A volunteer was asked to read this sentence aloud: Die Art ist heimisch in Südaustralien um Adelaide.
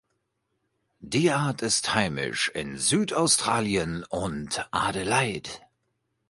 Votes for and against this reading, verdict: 0, 2, rejected